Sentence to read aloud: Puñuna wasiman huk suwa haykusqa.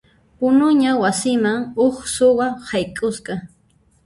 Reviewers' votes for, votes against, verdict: 0, 2, rejected